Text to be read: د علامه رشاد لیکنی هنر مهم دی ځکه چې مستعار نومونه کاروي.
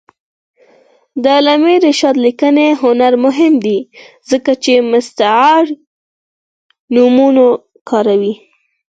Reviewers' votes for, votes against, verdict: 4, 2, accepted